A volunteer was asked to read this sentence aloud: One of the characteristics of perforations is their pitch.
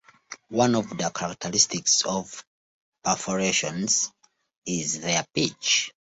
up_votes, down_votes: 2, 0